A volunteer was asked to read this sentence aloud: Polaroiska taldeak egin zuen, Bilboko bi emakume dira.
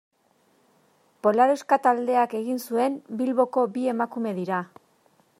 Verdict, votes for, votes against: rejected, 1, 2